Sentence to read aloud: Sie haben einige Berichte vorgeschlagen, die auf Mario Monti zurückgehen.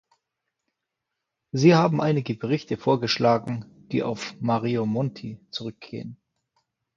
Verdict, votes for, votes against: accepted, 2, 0